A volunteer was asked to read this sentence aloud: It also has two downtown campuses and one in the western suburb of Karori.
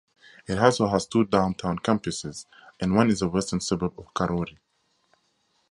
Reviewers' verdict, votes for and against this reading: rejected, 2, 2